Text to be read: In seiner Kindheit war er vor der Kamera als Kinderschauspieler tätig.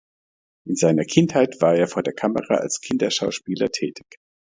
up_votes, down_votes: 2, 0